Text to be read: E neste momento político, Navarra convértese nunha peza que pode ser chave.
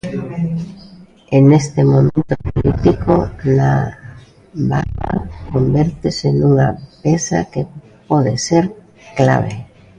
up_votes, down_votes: 0, 2